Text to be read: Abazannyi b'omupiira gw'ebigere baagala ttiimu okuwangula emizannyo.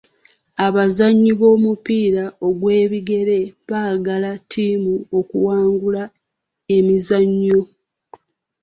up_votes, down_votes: 1, 2